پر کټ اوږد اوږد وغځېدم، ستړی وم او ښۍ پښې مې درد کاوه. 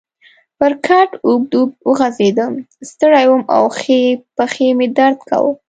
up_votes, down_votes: 2, 0